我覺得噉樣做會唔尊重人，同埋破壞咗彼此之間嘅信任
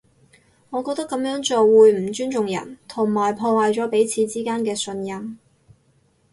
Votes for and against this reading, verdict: 2, 0, accepted